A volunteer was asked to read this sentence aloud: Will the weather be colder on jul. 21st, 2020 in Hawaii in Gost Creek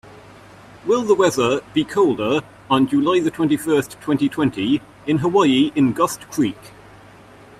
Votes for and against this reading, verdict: 0, 2, rejected